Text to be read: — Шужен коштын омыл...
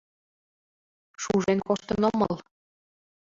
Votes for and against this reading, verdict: 2, 0, accepted